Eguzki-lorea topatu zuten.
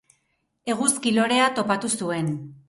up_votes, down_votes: 0, 2